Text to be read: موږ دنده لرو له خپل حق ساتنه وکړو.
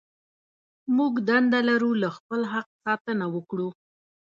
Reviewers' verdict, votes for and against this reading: accepted, 2, 0